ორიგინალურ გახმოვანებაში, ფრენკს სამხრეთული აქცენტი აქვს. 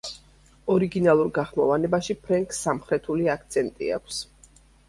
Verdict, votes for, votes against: accepted, 2, 0